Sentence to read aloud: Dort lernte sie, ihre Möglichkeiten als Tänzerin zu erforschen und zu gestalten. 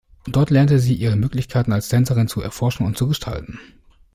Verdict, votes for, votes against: accepted, 2, 0